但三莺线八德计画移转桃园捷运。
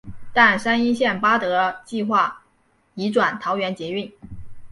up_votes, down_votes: 2, 1